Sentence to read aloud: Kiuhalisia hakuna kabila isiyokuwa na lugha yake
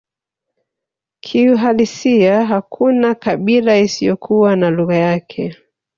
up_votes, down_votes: 1, 2